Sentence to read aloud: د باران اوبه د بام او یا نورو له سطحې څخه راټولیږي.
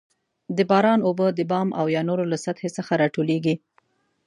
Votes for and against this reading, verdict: 2, 0, accepted